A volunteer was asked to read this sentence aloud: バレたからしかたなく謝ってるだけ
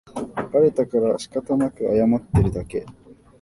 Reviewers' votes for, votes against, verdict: 2, 0, accepted